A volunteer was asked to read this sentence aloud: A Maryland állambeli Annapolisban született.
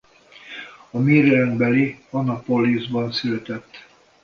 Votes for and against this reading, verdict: 0, 2, rejected